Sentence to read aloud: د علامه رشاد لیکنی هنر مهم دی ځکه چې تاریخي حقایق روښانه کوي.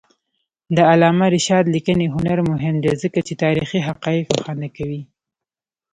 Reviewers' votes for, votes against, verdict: 0, 2, rejected